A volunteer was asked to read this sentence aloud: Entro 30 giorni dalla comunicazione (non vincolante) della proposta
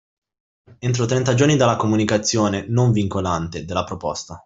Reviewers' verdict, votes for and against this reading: rejected, 0, 2